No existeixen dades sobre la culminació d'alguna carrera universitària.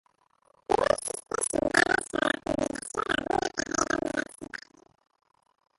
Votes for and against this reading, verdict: 0, 2, rejected